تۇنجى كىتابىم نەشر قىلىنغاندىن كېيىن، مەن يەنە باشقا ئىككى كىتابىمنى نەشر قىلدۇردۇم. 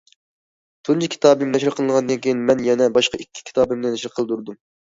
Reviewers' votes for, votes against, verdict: 2, 0, accepted